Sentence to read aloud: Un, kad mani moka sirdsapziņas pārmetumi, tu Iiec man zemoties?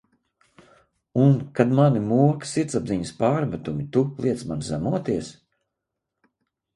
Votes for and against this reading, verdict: 4, 0, accepted